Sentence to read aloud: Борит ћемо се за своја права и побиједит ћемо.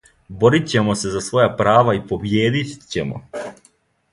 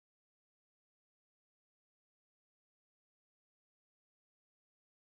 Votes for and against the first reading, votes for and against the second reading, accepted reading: 2, 0, 0, 2, first